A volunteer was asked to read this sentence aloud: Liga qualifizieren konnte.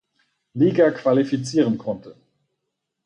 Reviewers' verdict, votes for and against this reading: accepted, 4, 0